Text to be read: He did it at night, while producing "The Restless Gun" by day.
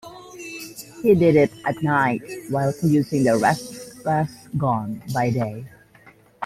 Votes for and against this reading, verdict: 0, 2, rejected